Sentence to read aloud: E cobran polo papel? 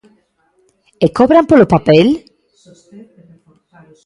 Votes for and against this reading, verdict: 1, 2, rejected